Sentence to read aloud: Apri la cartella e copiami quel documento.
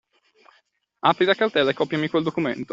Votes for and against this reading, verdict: 2, 0, accepted